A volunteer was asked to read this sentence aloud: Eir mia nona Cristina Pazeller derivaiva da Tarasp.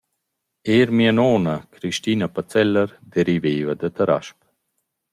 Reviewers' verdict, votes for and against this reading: accepted, 2, 0